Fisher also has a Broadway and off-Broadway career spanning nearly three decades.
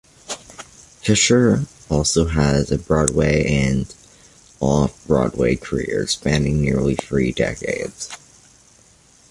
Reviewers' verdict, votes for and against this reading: accepted, 2, 0